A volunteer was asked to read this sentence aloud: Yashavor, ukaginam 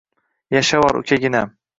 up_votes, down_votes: 1, 2